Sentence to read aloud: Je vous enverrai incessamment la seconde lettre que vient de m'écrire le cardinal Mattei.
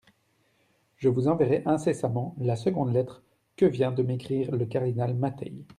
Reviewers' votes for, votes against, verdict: 2, 0, accepted